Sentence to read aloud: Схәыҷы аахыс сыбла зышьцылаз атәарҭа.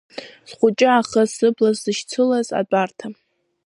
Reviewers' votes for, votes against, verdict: 0, 2, rejected